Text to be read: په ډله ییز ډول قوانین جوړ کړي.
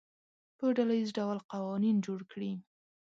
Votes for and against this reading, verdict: 3, 0, accepted